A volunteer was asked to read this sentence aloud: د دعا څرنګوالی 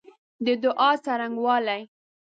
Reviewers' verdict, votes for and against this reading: accepted, 2, 0